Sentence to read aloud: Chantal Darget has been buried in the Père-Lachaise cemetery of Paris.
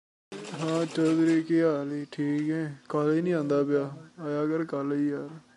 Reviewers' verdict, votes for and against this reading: rejected, 0, 2